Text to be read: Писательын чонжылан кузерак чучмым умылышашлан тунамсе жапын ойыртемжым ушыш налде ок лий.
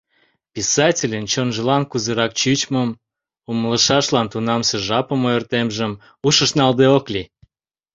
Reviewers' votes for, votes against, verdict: 0, 2, rejected